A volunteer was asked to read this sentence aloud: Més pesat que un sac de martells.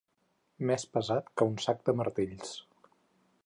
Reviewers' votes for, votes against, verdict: 4, 2, accepted